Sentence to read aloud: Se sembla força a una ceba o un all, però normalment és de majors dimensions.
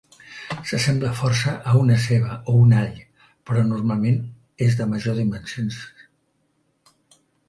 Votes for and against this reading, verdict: 1, 2, rejected